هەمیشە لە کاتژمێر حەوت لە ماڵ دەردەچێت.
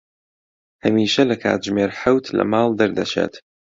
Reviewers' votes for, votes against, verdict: 2, 0, accepted